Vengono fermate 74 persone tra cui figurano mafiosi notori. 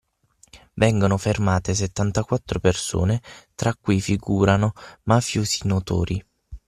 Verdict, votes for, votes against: rejected, 0, 2